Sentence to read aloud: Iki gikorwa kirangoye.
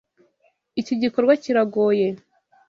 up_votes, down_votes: 1, 2